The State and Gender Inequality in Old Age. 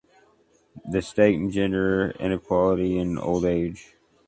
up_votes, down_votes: 2, 0